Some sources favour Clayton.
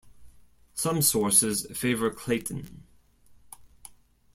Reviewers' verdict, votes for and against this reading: accepted, 2, 0